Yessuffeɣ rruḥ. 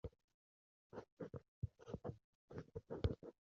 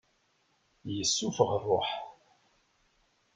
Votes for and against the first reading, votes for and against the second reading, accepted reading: 1, 2, 2, 0, second